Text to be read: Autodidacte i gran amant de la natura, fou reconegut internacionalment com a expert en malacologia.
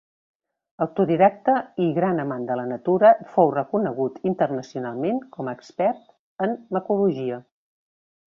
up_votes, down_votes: 0, 2